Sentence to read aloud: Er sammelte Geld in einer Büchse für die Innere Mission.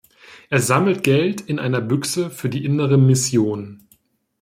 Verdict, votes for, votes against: rejected, 1, 2